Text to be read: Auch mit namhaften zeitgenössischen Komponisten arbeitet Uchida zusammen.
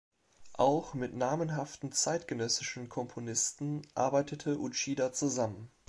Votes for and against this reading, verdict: 1, 2, rejected